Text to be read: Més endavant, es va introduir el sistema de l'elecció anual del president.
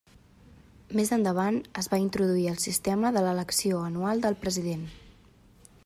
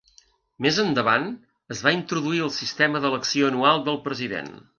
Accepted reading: first